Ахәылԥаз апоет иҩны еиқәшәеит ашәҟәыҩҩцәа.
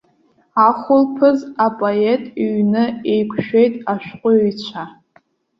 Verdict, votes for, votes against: accepted, 2, 0